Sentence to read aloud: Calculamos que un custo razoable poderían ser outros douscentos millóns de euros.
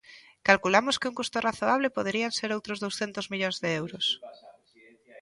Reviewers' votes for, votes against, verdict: 2, 0, accepted